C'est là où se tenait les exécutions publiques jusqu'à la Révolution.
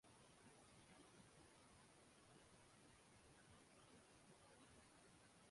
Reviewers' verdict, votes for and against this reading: rejected, 0, 2